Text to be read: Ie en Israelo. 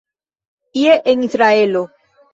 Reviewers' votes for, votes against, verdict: 1, 2, rejected